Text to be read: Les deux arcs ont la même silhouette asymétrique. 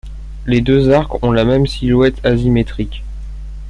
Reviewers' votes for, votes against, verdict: 0, 2, rejected